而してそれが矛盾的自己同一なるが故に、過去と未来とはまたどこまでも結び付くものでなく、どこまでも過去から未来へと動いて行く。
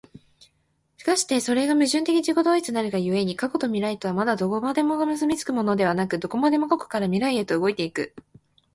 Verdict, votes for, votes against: accepted, 2, 0